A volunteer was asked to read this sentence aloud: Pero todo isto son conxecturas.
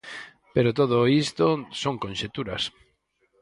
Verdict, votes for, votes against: accepted, 6, 0